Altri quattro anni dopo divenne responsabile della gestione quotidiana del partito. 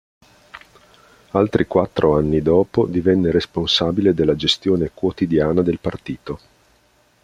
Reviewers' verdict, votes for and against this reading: accepted, 2, 0